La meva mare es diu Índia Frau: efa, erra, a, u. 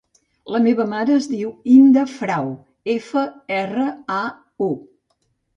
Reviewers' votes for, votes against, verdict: 0, 2, rejected